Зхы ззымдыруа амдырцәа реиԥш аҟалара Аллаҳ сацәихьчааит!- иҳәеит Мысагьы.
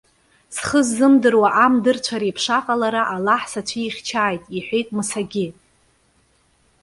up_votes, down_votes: 1, 2